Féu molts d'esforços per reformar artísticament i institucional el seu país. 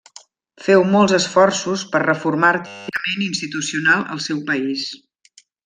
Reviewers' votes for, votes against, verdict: 0, 2, rejected